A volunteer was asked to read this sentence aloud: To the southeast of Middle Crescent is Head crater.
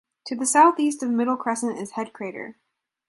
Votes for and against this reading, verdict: 2, 0, accepted